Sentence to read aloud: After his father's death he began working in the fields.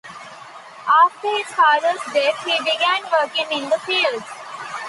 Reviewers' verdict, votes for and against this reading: accepted, 2, 0